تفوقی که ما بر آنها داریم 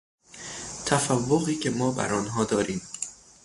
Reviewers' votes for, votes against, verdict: 0, 3, rejected